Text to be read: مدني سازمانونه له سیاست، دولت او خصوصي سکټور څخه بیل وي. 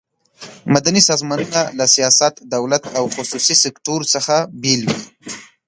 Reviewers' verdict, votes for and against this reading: accepted, 2, 0